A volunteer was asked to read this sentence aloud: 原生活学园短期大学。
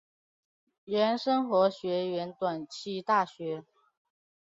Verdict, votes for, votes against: accepted, 2, 0